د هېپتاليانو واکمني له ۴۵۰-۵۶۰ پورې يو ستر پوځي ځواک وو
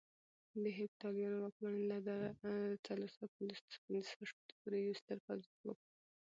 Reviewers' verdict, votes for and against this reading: rejected, 0, 2